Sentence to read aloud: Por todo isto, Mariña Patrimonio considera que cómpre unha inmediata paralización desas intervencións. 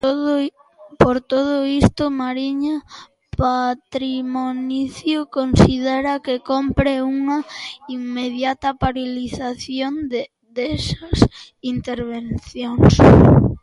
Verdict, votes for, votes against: rejected, 0, 2